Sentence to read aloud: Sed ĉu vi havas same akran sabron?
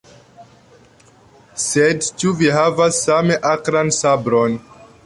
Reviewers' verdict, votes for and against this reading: accepted, 2, 1